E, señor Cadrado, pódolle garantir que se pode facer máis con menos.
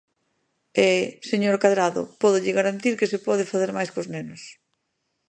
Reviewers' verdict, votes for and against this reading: rejected, 0, 2